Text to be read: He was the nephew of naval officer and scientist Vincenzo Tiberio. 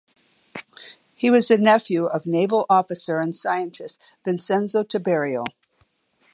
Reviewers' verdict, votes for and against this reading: accepted, 2, 0